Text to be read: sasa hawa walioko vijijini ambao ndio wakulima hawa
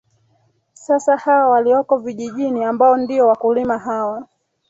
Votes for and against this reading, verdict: 0, 2, rejected